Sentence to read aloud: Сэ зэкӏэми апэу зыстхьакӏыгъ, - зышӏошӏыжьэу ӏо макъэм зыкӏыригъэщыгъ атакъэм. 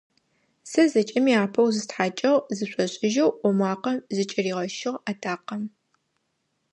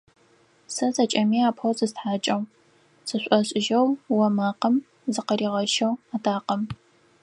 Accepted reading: first